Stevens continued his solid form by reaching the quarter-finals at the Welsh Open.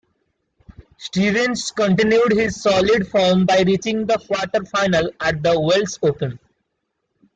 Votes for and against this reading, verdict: 2, 1, accepted